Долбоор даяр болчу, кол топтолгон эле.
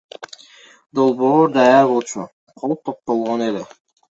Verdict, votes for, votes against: accepted, 2, 0